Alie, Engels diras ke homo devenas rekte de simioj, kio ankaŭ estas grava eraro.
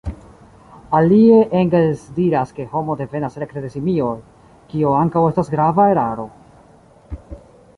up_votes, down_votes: 2, 0